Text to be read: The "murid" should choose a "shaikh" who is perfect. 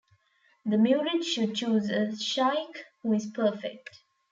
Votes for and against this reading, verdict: 2, 0, accepted